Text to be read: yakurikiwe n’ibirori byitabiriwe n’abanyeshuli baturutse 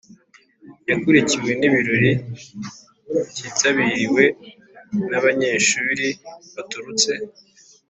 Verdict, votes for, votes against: accepted, 4, 0